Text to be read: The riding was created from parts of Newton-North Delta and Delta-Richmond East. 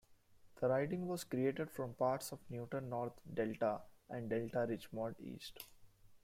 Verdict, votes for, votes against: rejected, 1, 2